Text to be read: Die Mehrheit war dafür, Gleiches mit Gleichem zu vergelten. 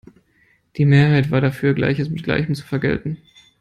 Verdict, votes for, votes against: accepted, 2, 0